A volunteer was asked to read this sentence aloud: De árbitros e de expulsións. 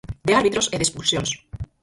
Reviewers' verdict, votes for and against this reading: rejected, 2, 4